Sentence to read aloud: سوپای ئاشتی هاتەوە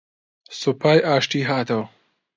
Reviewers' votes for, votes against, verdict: 2, 0, accepted